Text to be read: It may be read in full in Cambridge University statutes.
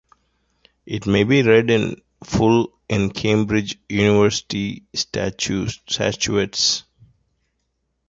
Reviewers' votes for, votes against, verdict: 0, 2, rejected